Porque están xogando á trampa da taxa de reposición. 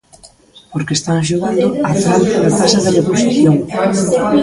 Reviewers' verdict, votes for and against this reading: rejected, 0, 2